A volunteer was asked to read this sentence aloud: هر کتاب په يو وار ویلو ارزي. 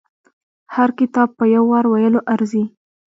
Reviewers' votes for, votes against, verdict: 2, 0, accepted